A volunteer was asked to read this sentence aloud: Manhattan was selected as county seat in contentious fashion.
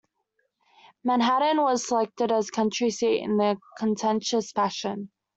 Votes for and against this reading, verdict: 0, 2, rejected